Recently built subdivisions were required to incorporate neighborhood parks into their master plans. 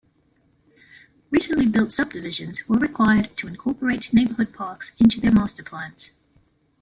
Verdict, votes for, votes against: accepted, 2, 1